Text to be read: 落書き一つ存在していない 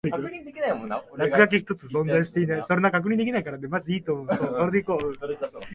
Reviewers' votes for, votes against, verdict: 1, 2, rejected